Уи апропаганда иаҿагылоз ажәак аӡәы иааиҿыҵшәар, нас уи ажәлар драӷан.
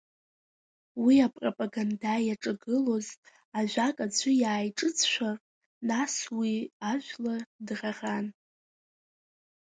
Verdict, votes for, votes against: rejected, 1, 2